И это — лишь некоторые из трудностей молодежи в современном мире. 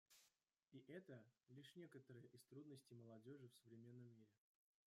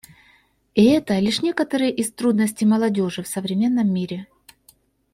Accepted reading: second